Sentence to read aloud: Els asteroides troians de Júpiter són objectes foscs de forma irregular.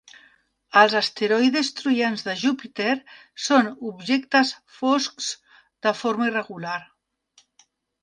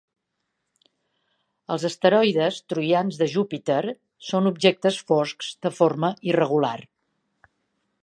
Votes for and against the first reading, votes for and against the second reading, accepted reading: 0, 2, 2, 0, second